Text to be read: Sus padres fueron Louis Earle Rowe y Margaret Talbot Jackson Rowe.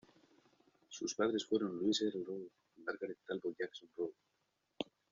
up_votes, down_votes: 0, 2